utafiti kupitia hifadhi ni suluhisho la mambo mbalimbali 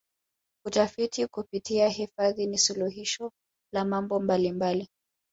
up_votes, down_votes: 1, 2